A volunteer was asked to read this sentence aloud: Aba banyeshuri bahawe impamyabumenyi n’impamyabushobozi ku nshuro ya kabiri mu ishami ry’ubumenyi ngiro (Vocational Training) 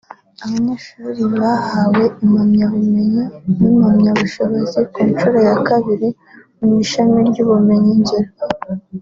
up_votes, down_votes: 1, 2